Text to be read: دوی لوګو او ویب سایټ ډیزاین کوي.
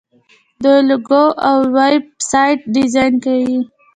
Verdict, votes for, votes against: accepted, 2, 0